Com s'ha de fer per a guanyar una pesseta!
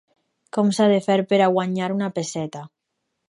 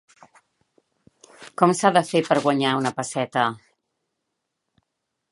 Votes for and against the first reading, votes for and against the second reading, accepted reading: 4, 0, 1, 2, first